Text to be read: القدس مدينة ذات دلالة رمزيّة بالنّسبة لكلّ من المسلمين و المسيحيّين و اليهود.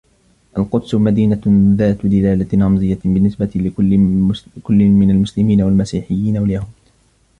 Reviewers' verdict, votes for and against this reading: rejected, 0, 2